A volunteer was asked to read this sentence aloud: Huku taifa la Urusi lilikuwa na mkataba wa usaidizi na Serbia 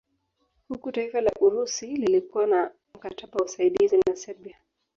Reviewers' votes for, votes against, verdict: 2, 3, rejected